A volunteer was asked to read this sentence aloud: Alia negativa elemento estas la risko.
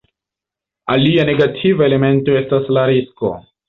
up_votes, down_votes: 2, 1